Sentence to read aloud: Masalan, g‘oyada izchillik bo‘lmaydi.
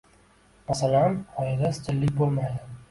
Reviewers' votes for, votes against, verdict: 1, 2, rejected